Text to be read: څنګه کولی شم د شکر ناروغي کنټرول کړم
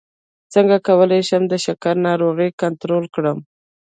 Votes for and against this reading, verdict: 1, 2, rejected